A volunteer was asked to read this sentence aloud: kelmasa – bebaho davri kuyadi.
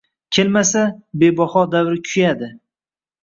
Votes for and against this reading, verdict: 0, 2, rejected